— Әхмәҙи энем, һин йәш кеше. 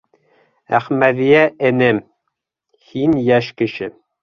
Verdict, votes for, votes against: rejected, 0, 2